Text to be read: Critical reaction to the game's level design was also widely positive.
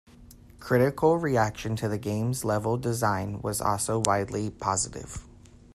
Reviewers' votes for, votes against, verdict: 2, 0, accepted